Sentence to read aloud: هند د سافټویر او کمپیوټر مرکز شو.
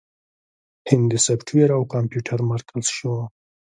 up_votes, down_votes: 1, 2